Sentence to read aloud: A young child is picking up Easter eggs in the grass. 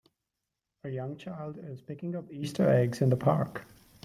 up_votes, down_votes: 0, 2